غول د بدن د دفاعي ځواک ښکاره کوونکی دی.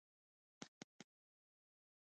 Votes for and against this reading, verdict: 1, 2, rejected